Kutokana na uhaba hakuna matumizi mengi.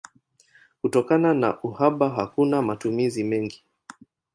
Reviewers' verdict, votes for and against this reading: accepted, 20, 3